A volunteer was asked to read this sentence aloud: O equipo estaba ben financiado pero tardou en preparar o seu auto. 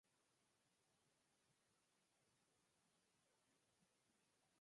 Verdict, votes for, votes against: rejected, 0, 4